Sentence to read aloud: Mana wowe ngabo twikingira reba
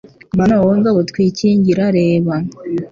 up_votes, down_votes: 2, 0